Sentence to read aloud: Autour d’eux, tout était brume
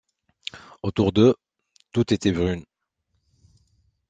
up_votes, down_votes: 2, 1